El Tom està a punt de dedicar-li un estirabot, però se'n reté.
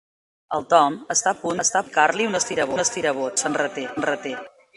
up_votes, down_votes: 0, 2